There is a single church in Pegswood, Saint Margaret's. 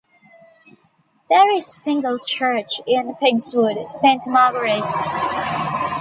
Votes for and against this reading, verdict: 1, 2, rejected